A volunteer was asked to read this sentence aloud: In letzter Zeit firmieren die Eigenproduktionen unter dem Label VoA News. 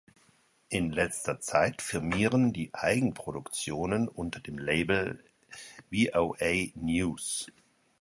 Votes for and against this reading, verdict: 2, 0, accepted